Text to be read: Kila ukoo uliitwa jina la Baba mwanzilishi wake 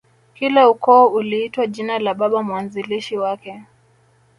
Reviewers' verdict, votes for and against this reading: rejected, 0, 2